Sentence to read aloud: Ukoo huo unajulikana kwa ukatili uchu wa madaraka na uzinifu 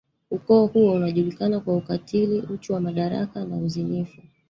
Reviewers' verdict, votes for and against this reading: rejected, 1, 2